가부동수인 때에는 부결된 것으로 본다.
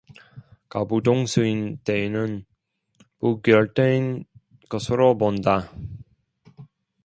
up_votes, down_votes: 0, 2